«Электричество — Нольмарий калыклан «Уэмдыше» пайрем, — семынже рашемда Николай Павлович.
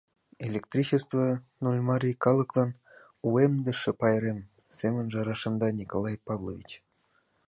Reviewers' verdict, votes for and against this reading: accepted, 2, 0